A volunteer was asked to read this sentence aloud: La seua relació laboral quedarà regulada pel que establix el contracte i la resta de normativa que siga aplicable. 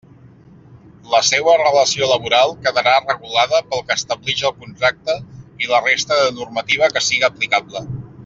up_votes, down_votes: 2, 0